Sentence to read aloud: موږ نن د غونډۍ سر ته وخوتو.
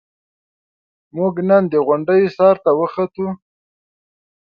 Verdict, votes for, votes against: accepted, 2, 0